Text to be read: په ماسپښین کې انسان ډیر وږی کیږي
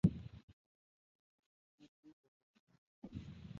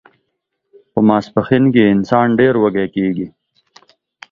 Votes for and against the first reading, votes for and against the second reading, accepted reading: 0, 2, 2, 0, second